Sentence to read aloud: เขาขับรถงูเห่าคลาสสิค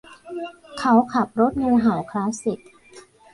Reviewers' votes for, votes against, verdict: 1, 2, rejected